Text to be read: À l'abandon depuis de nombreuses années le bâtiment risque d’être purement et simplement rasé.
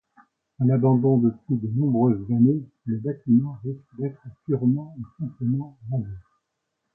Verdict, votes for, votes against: accepted, 2, 1